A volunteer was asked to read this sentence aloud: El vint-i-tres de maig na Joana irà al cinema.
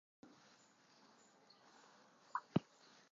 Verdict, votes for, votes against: rejected, 0, 2